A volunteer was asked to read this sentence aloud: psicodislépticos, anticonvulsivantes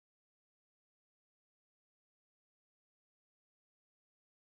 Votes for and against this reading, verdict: 0, 2, rejected